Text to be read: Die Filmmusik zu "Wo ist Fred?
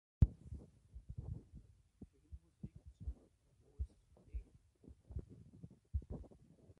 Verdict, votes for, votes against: rejected, 0, 2